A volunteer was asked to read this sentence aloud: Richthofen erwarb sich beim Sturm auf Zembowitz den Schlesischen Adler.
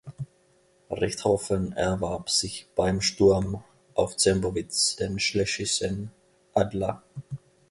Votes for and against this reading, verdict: 1, 2, rejected